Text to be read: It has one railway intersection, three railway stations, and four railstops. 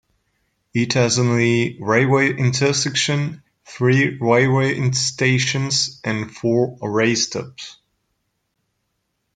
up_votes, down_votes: 1, 2